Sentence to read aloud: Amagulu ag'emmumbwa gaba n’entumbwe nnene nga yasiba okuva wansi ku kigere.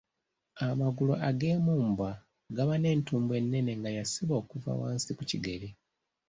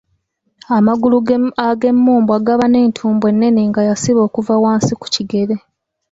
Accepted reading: first